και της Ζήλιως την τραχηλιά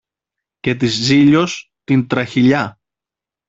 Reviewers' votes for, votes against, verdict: 2, 0, accepted